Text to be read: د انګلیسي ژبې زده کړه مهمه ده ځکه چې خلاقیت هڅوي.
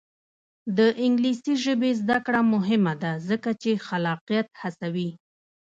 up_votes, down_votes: 1, 2